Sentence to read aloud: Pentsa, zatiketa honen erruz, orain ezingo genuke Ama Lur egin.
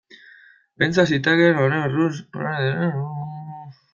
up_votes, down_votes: 0, 2